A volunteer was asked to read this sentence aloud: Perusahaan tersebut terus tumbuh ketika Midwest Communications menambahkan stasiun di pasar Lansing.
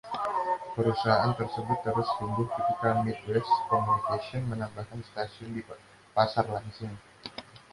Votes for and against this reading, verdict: 2, 0, accepted